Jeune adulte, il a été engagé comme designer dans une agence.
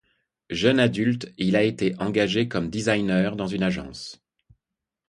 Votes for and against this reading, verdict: 2, 0, accepted